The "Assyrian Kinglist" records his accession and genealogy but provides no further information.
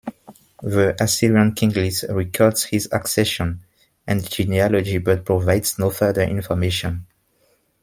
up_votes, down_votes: 1, 2